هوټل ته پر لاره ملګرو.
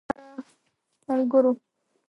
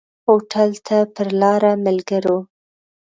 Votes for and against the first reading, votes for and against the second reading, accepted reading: 0, 2, 2, 0, second